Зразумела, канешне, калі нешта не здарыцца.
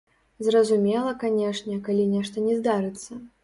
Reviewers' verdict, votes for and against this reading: rejected, 1, 2